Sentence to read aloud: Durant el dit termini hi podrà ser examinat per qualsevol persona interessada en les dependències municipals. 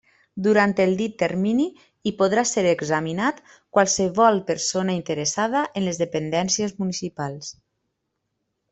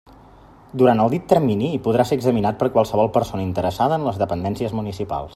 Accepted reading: second